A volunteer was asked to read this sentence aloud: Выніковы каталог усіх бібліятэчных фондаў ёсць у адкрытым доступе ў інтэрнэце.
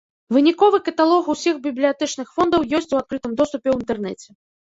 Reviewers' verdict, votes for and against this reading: rejected, 0, 2